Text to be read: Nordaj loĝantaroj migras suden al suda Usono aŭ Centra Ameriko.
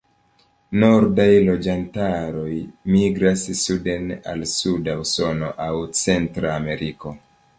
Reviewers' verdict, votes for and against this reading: accepted, 3, 0